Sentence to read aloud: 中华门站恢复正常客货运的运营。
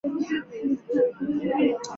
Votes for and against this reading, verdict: 1, 2, rejected